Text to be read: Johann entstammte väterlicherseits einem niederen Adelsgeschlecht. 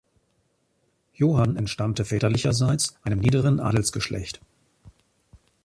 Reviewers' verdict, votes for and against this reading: rejected, 1, 2